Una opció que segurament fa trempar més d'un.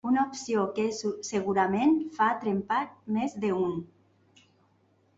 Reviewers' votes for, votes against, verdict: 0, 2, rejected